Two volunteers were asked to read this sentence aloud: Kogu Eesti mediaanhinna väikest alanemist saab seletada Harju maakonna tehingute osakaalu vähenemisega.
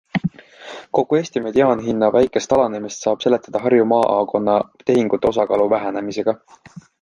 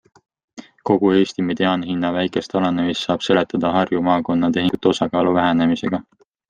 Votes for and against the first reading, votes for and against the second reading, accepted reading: 1, 2, 2, 0, second